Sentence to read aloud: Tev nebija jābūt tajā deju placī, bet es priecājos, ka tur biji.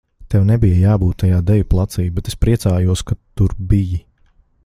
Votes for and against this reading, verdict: 2, 0, accepted